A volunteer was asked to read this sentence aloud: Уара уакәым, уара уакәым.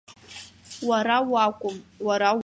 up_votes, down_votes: 0, 2